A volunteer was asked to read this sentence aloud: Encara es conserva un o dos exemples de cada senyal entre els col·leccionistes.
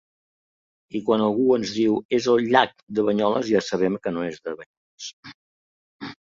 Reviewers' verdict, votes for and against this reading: rejected, 1, 2